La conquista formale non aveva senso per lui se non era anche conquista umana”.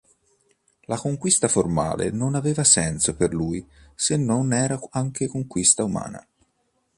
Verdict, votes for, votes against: rejected, 1, 2